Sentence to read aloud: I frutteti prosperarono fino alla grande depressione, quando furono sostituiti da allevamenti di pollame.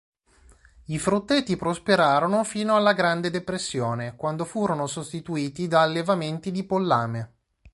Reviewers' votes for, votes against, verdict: 2, 0, accepted